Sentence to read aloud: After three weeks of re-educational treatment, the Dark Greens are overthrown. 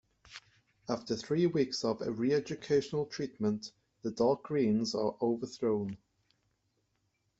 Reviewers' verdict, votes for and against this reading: accepted, 2, 0